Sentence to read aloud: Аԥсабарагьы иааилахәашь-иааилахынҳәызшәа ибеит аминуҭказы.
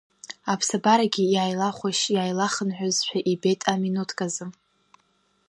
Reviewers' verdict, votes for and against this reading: accepted, 2, 0